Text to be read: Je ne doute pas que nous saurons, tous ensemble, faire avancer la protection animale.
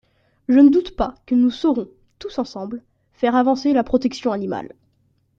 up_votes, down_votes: 2, 0